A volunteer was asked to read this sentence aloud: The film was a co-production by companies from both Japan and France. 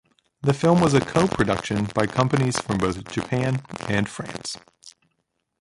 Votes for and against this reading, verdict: 1, 2, rejected